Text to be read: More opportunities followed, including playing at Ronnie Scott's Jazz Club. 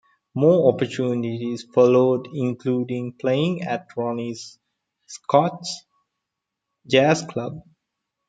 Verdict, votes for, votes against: rejected, 1, 2